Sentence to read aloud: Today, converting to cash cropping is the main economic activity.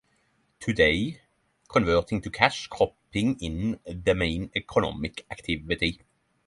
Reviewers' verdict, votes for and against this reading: rejected, 0, 3